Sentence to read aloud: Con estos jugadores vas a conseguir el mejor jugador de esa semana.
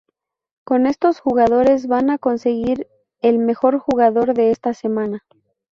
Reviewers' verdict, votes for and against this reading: rejected, 0, 2